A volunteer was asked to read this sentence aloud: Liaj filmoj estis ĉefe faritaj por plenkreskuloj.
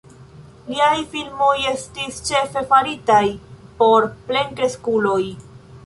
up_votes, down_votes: 2, 0